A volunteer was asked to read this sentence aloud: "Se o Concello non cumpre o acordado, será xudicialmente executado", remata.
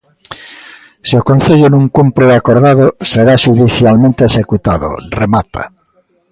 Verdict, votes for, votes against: accepted, 2, 1